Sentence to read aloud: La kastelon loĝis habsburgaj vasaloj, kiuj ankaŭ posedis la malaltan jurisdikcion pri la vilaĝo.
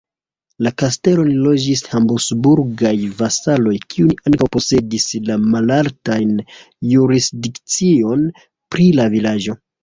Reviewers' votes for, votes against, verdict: 0, 2, rejected